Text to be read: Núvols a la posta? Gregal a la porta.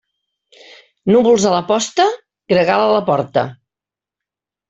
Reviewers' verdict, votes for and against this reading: accepted, 2, 0